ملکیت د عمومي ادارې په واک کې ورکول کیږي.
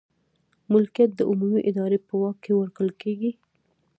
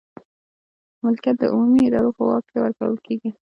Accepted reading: second